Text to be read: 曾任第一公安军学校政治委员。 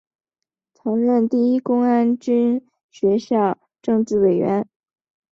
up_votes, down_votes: 2, 0